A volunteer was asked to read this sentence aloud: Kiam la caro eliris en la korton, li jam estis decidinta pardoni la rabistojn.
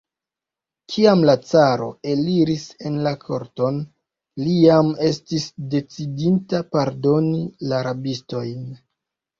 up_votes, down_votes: 2, 0